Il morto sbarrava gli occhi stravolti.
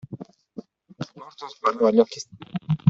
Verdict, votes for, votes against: rejected, 0, 2